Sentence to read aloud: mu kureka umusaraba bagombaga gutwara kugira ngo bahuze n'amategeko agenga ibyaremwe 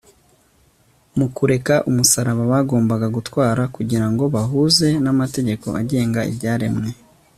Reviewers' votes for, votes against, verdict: 3, 0, accepted